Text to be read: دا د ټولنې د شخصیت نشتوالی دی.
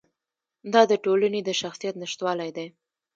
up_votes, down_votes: 0, 2